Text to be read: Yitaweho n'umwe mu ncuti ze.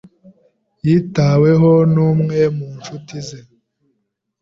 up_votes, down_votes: 2, 0